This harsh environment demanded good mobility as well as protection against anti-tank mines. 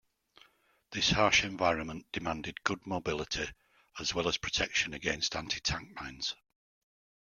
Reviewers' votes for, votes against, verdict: 2, 0, accepted